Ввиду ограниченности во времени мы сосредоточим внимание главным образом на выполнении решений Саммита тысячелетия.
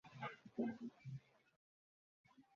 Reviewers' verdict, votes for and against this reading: rejected, 0, 2